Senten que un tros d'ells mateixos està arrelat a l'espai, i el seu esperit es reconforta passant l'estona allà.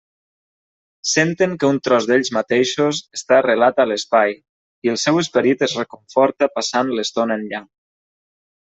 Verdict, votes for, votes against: rejected, 1, 2